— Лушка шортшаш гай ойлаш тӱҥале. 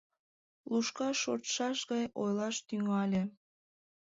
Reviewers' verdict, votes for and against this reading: accepted, 2, 0